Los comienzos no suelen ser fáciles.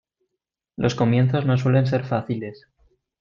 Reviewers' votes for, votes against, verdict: 2, 0, accepted